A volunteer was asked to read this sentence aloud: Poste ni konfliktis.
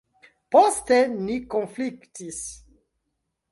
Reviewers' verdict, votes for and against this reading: accepted, 2, 0